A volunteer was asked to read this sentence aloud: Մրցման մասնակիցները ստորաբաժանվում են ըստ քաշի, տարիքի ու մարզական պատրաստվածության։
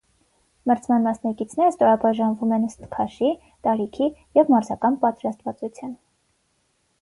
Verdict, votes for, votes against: accepted, 6, 3